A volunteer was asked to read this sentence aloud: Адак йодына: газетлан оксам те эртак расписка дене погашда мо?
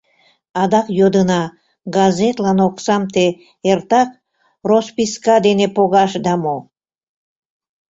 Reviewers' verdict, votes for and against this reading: rejected, 1, 2